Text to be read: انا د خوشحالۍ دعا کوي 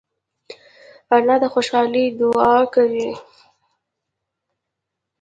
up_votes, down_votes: 2, 0